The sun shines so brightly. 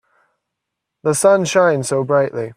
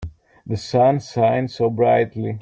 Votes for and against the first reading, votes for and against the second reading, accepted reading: 3, 0, 0, 2, first